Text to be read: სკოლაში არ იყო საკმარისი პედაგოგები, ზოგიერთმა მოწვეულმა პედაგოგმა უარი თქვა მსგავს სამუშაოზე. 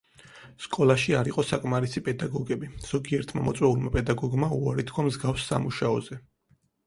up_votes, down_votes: 4, 0